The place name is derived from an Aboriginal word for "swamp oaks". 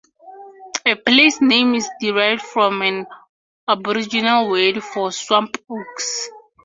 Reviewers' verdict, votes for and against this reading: accepted, 2, 0